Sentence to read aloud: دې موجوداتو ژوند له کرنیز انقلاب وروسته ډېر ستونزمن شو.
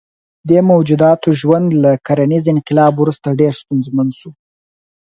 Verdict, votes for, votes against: rejected, 2, 4